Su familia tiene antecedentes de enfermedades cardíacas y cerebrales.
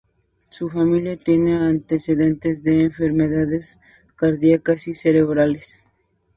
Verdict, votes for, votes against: rejected, 0, 2